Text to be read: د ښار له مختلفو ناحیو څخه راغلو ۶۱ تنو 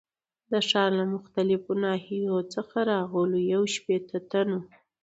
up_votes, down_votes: 0, 2